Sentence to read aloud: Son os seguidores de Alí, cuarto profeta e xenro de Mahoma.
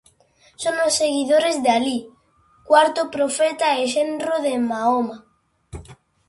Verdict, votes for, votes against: accepted, 2, 0